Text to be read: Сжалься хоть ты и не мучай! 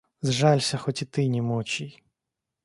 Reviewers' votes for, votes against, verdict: 0, 2, rejected